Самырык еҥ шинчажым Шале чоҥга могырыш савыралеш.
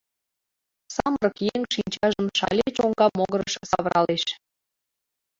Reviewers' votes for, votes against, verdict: 0, 2, rejected